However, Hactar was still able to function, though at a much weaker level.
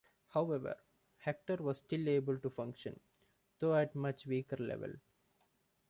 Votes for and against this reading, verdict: 2, 1, accepted